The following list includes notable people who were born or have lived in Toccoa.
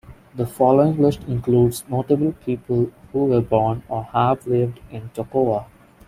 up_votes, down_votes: 2, 0